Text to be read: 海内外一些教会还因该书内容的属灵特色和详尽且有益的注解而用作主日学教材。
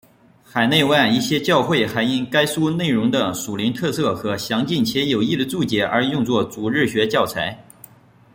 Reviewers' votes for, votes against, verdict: 1, 2, rejected